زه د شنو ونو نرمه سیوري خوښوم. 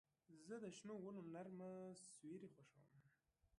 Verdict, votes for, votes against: rejected, 0, 2